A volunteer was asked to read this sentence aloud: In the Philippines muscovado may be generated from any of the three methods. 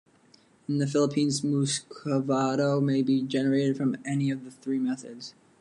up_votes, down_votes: 2, 0